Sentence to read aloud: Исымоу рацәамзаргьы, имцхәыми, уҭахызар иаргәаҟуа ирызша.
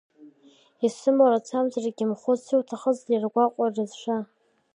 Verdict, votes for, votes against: rejected, 1, 2